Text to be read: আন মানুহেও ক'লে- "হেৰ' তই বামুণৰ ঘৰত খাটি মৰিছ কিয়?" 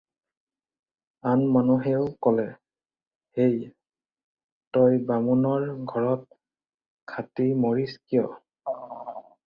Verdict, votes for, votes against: rejected, 0, 4